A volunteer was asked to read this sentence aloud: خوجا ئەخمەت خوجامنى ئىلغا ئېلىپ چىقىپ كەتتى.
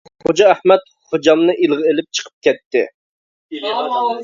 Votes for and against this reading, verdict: 0, 2, rejected